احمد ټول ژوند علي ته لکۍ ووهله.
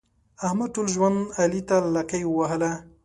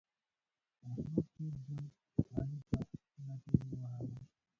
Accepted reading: first